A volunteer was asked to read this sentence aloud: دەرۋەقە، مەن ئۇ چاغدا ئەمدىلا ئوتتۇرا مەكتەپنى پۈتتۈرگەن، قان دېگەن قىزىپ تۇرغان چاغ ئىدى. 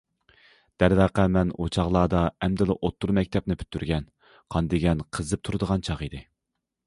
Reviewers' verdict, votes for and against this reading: rejected, 0, 2